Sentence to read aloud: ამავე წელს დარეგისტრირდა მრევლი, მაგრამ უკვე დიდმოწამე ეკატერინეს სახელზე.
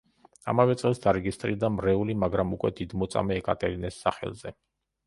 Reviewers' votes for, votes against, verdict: 2, 0, accepted